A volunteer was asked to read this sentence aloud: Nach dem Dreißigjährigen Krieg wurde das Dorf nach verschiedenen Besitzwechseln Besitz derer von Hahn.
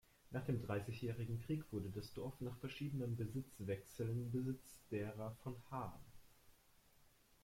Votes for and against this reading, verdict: 2, 0, accepted